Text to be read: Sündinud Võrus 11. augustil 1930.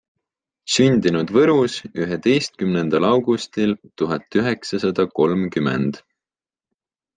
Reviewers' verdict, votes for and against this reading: rejected, 0, 2